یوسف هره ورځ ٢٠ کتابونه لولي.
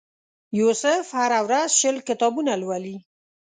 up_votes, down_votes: 0, 2